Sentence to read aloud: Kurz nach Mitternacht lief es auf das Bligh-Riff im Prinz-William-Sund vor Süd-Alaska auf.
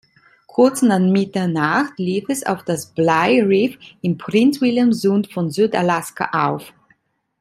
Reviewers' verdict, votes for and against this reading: rejected, 1, 2